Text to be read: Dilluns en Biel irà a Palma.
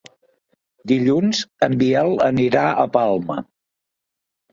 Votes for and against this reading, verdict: 0, 2, rejected